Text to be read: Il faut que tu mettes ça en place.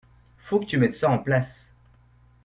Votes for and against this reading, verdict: 2, 0, accepted